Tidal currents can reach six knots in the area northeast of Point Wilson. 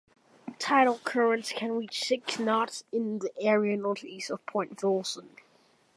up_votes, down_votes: 2, 0